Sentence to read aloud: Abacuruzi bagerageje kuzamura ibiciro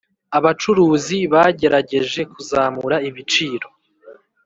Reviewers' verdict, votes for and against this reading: accepted, 2, 0